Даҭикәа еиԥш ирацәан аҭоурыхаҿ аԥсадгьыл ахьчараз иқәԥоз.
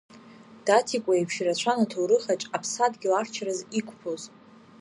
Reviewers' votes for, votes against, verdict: 2, 0, accepted